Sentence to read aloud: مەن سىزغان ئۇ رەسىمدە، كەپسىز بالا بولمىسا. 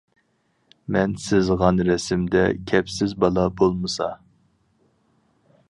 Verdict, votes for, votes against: rejected, 0, 4